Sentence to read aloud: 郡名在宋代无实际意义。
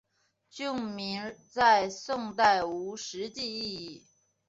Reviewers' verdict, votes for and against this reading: accepted, 3, 0